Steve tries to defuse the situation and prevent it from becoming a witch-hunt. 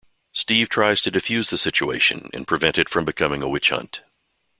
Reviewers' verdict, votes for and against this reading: accepted, 2, 1